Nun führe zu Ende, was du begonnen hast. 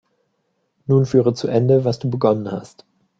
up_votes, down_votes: 2, 0